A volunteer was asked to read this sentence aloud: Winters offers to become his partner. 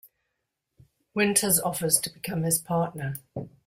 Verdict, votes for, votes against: accepted, 2, 0